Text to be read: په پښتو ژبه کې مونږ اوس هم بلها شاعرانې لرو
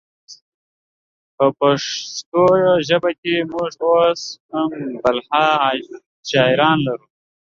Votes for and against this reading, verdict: 0, 2, rejected